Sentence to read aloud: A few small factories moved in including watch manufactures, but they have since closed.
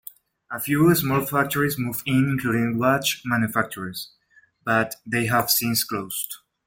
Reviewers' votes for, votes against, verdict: 0, 2, rejected